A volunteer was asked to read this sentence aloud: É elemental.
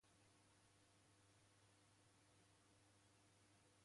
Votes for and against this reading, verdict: 0, 2, rejected